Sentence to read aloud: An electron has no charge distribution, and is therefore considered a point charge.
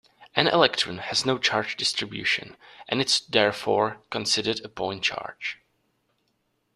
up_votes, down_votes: 1, 2